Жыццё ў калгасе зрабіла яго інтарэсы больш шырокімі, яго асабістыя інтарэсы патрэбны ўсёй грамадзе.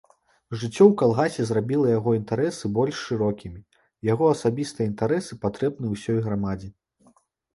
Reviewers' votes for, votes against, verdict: 0, 2, rejected